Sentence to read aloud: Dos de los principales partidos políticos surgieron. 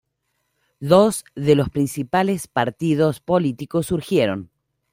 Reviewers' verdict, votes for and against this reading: accepted, 2, 0